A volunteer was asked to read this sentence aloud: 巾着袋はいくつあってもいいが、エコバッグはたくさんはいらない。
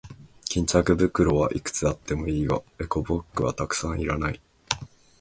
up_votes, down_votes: 2, 0